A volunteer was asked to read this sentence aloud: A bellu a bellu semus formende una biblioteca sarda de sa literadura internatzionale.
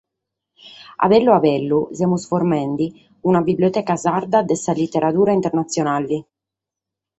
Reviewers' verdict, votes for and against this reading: accepted, 4, 0